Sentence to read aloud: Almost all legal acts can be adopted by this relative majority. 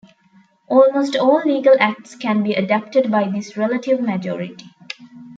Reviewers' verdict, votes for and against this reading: rejected, 1, 2